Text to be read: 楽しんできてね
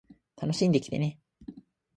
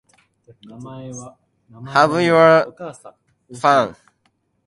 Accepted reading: first